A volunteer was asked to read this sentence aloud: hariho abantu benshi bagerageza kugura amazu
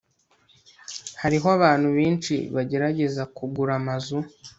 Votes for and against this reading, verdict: 2, 0, accepted